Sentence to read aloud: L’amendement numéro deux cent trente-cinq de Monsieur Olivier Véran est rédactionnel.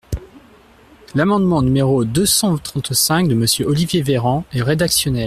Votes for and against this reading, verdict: 2, 1, accepted